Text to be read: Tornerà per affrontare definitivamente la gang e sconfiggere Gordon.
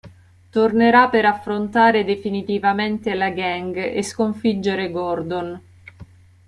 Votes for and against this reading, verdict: 2, 0, accepted